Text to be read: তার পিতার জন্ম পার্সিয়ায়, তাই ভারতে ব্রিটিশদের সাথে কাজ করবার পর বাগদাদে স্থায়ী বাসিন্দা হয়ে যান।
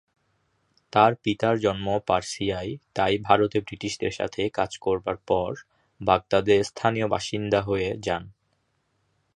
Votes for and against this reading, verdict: 1, 2, rejected